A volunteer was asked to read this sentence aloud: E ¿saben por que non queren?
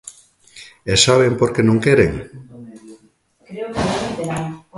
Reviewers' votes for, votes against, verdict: 0, 2, rejected